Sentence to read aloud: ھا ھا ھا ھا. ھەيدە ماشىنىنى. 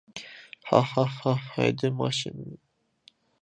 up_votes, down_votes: 0, 2